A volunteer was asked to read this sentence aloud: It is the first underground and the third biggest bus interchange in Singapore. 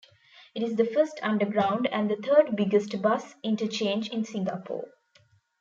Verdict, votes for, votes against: accepted, 2, 0